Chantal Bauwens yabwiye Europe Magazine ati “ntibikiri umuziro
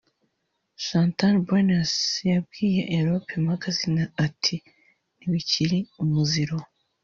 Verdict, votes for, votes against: rejected, 0, 2